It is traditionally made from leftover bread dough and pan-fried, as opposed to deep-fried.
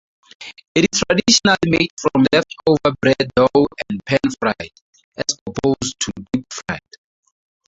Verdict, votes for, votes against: rejected, 2, 4